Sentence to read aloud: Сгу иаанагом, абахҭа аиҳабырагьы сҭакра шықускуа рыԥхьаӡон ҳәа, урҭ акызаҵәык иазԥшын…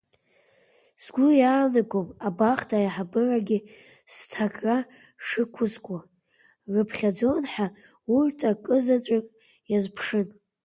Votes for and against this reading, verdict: 2, 1, accepted